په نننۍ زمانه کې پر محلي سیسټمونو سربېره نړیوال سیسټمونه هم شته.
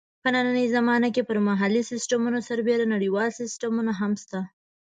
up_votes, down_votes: 2, 0